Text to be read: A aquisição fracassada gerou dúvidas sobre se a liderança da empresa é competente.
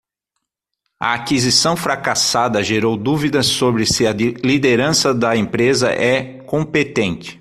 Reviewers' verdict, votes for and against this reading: rejected, 3, 6